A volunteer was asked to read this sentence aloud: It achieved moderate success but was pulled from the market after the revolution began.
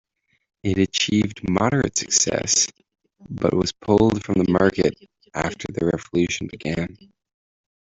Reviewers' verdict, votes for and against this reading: rejected, 0, 2